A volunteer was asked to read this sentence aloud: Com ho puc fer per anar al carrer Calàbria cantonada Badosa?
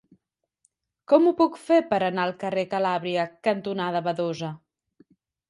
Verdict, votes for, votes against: accepted, 3, 0